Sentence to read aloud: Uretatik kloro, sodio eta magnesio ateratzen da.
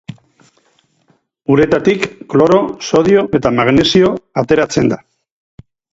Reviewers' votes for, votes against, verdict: 2, 2, rejected